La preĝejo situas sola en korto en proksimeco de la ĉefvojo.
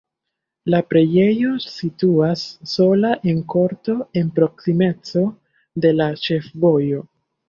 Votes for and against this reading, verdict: 1, 2, rejected